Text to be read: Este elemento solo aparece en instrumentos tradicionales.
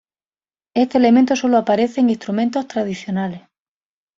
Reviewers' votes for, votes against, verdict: 2, 0, accepted